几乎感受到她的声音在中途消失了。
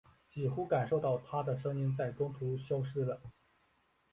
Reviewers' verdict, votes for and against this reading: accepted, 4, 0